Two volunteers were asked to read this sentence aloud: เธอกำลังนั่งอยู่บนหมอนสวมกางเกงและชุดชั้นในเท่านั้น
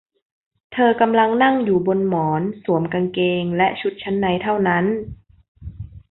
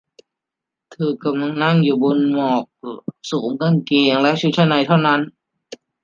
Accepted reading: first